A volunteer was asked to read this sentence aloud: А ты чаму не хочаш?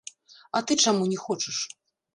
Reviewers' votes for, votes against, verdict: 1, 2, rejected